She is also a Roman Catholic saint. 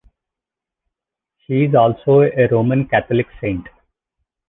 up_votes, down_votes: 2, 0